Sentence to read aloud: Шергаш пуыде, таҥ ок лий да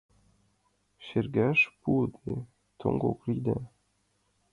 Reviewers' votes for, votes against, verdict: 0, 2, rejected